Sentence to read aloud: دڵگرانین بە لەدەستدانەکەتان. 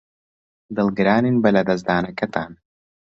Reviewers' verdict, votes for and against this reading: accepted, 2, 0